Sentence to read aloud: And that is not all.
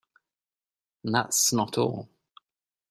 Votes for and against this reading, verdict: 1, 2, rejected